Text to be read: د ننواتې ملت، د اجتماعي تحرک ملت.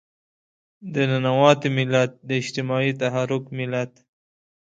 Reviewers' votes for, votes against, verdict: 2, 0, accepted